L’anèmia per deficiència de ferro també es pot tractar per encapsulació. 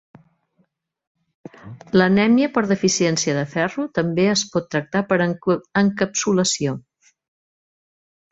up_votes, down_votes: 0, 2